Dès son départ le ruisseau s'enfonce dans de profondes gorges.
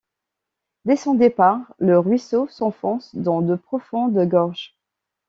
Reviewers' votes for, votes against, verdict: 2, 0, accepted